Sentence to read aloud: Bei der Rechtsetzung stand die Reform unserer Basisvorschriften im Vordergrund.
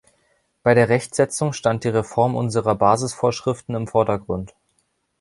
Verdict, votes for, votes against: accepted, 2, 0